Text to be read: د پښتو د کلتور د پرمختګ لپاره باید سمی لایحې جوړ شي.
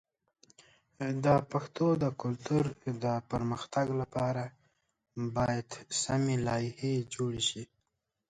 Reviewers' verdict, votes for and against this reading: rejected, 1, 2